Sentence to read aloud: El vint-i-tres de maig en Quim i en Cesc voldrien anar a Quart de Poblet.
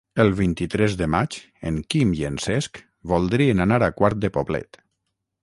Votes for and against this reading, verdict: 6, 0, accepted